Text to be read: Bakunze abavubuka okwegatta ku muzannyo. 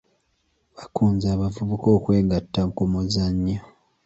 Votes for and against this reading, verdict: 2, 0, accepted